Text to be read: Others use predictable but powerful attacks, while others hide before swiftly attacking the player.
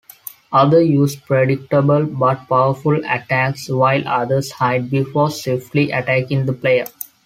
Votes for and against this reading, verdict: 2, 1, accepted